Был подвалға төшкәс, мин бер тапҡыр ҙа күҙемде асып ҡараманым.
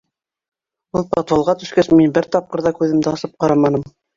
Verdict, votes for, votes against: rejected, 1, 2